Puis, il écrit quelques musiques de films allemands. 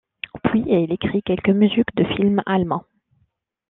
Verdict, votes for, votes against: accepted, 2, 0